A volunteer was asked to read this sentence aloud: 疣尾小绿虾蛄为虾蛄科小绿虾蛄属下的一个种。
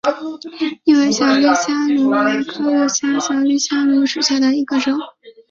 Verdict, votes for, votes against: accepted, 5, 1